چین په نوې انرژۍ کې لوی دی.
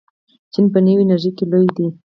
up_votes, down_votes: 0, 4